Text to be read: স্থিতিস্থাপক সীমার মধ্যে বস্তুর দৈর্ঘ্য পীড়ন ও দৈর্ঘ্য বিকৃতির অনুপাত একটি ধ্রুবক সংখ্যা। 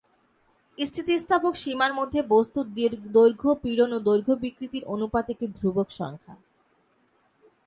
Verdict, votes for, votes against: rejected, 1, 3